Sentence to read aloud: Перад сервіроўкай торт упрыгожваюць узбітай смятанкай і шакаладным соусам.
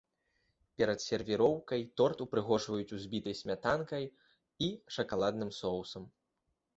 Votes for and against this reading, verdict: 2, 0, accepted